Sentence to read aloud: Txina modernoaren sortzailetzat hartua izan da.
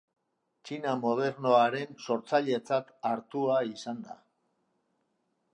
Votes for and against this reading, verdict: 2, 0, accepted